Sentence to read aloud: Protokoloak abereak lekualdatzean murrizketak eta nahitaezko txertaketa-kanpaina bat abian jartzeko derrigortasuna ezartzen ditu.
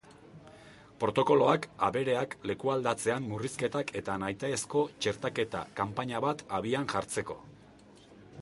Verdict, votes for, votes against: rejected, 0, 2